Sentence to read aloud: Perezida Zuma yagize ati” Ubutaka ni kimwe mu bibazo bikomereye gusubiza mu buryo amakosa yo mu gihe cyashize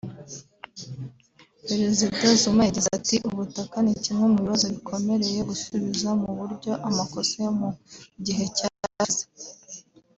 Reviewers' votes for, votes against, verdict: 2, 0, accepted